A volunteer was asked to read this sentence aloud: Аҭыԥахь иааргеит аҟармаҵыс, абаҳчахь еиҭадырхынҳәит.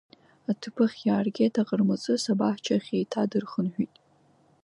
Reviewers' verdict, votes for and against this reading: accepted, 3, 1